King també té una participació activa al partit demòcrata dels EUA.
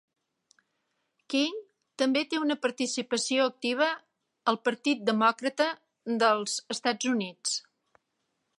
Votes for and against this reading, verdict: 2, 1, accepted